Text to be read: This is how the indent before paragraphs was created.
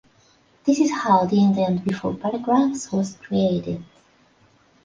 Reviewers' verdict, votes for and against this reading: accepted, 2, 1